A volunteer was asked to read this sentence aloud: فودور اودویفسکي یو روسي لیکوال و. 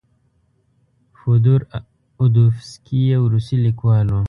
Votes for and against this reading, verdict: 0, 2, rejected